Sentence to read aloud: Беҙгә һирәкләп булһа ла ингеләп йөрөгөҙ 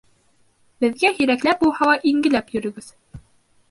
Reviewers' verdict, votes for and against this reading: accepted, 2, 0